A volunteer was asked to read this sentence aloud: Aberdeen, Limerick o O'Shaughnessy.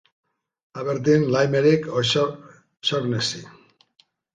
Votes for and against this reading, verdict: 0, 2, rejected